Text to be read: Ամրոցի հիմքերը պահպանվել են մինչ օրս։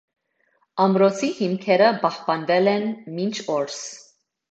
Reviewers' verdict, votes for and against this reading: accepted, 2, 0